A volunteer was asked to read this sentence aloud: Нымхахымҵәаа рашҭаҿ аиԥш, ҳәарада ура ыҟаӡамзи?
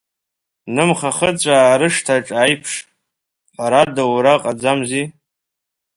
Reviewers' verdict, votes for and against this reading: rejected, 1, 2